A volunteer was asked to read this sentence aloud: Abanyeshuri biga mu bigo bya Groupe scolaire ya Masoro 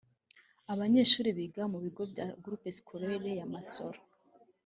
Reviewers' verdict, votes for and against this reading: accepted, 3, 1